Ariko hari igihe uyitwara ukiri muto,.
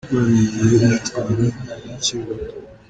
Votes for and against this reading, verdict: 1, 2, rejected